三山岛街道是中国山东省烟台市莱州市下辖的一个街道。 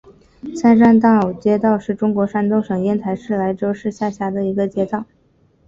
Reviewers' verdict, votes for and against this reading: accepted, 3, 0